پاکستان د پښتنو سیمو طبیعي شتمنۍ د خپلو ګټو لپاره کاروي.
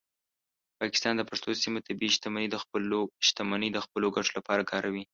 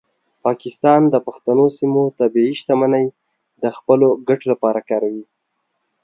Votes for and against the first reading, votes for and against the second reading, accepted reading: 1, 2, 2, 0, second